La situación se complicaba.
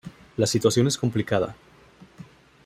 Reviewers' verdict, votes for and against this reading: rejected, 0, 3